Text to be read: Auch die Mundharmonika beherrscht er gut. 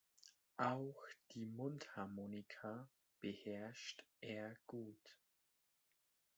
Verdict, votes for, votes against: accepted, 2, 0